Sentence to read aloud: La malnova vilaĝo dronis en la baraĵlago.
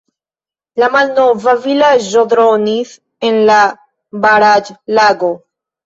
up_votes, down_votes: 1, 2